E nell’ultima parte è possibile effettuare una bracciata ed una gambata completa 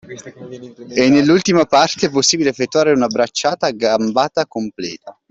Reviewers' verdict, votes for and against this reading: rejected, 1, 2